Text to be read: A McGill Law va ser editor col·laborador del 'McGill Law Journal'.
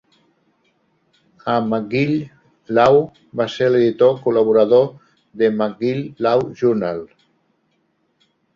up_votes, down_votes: 1, 2